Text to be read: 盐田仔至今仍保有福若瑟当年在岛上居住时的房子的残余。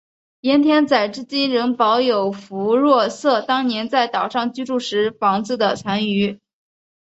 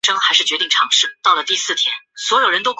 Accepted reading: first